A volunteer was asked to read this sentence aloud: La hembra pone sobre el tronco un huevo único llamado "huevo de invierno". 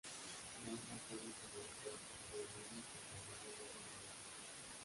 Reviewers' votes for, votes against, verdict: 0, 2, rejected